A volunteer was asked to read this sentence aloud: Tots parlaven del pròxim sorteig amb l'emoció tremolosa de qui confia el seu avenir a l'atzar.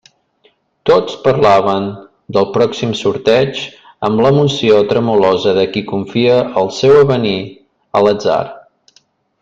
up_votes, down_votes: 2, 0